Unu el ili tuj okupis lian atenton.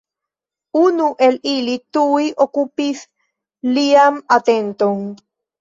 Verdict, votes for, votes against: rejected, 1, 2